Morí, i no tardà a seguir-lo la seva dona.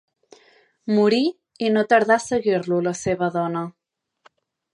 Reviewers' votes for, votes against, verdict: 3, 0, accepted